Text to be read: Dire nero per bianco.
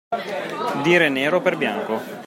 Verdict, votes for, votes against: accepted, 2, 0